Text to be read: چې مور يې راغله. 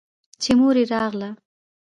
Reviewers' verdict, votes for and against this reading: accepted, 2, 0